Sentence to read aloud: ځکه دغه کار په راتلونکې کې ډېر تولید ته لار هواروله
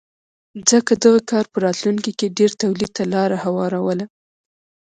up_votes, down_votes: 1, 2